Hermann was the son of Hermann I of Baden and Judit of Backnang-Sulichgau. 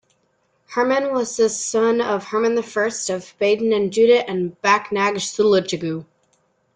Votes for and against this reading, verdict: 2, 0, accepted